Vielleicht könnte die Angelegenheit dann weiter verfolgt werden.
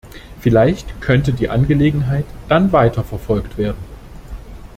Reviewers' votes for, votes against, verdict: 2, 0, accepted